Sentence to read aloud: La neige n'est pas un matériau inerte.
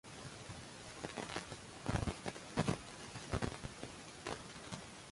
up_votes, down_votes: 0, 2